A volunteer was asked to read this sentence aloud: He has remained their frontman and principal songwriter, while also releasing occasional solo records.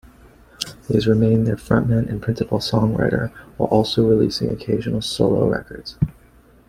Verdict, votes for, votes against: accepted, 3, 0